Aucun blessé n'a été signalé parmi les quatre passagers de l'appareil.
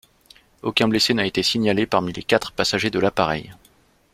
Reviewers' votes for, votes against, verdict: 2, 0, accepted